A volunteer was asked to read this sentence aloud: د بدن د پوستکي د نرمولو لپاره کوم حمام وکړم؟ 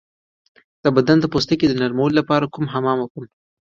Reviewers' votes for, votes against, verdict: 1, 2, rejected